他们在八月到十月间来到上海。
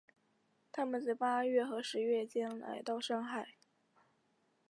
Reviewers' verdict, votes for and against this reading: rejected, 0, 2